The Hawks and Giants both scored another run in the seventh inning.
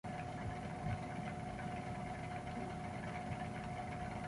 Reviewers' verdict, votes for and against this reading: rejected, 0, 2